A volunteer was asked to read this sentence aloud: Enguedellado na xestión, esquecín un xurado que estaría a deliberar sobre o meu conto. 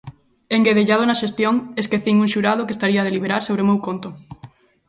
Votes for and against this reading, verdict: 2, 0, accepted